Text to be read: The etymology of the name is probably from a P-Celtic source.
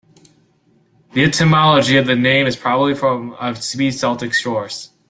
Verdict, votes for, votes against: rejected, 0, 2